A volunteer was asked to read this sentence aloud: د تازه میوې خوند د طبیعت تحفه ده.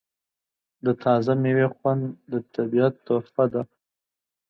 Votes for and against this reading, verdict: 2, 1, accepted